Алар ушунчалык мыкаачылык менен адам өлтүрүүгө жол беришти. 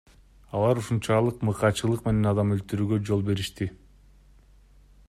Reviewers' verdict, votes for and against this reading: accepted, 2, 0